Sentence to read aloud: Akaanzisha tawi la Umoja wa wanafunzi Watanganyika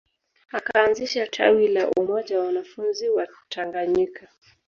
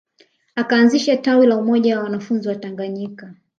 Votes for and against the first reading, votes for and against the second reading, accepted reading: 1, 2, 2, 1, second